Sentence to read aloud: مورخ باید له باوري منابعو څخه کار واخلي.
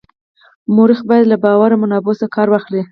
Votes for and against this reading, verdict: 4, 0, accepted